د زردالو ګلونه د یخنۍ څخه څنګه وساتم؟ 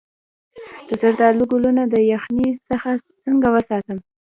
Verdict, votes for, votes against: accepted, 2, 1